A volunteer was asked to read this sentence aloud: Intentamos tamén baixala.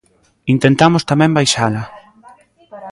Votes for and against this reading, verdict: 1, 2, rejected